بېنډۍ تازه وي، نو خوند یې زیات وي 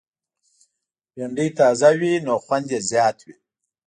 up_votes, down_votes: 2, 0